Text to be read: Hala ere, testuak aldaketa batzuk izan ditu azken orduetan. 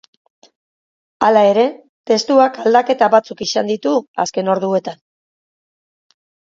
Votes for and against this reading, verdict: 5, 0, accepted